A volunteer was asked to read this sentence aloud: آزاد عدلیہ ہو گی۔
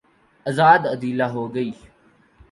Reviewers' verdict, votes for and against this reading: rejected, 2, 2